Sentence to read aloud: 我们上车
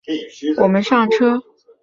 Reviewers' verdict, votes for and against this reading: accepted, 5, 0